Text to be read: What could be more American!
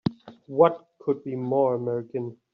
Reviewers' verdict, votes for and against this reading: accepted, 2, 1